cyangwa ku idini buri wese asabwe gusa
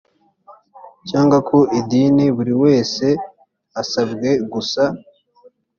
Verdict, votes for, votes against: accepted, 3, 1